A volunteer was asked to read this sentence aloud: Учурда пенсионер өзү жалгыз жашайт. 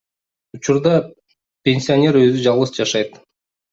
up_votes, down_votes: 2, 0